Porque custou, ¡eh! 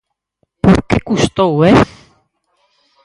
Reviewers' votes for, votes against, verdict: 0, 4, rejected